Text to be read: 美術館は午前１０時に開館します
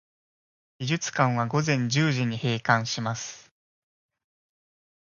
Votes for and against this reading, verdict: 0, 2, rejected